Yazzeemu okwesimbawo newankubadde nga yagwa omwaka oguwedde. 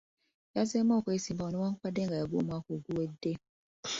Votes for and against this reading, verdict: 2, 0, accepted